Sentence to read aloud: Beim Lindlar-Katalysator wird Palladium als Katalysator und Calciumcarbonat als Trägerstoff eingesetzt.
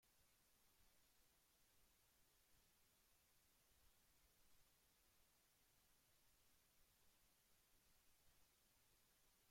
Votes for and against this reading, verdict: 0, 2, rejected